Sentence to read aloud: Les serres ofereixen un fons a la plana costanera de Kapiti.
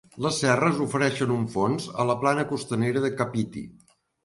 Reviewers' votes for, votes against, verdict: 2, 0, accepted